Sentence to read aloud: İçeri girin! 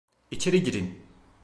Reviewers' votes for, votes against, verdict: 2, 0, accepted